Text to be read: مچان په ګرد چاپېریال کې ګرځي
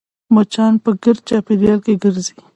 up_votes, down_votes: 2, 0